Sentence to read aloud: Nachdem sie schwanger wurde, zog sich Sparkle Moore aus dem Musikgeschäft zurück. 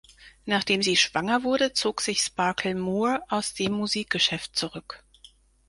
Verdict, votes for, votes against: accepted, 4, 0